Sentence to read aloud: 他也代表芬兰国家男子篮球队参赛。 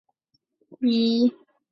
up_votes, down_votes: 1, 3